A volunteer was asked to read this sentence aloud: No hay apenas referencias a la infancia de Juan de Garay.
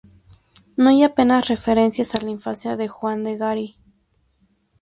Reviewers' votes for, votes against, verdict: 0, 4, rejected